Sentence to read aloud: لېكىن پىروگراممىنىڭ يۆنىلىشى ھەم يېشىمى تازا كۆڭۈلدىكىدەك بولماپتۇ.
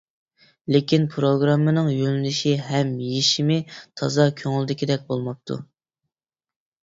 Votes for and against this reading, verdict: 2, 0, accepted